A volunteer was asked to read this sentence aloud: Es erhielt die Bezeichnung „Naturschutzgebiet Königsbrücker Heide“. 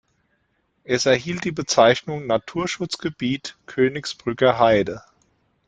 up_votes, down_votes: 2, 0